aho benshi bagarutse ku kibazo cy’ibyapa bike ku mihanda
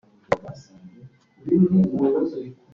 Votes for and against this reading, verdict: 0, 3, rejected